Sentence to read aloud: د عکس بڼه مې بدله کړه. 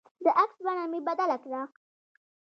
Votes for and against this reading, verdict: 2, 0, accepted